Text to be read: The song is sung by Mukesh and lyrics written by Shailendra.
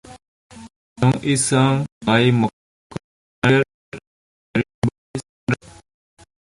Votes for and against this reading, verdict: 0, 2, rejected